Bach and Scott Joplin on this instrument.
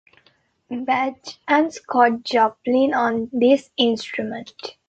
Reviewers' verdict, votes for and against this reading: rejected, 0, 2